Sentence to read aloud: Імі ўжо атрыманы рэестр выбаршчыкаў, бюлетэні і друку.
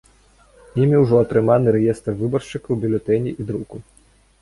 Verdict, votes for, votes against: accepted, 2, 1